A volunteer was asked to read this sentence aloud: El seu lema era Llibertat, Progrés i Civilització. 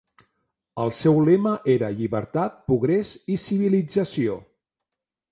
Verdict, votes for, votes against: rejected, 1, 2